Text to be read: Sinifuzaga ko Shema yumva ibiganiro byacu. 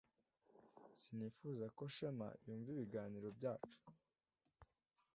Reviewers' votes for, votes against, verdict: 0, 2, rejected